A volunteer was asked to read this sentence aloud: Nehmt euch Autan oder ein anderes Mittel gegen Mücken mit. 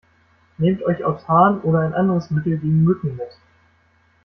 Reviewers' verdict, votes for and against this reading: rejected, 1, 2